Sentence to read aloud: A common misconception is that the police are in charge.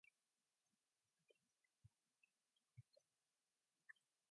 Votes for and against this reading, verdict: 0, 2, rejected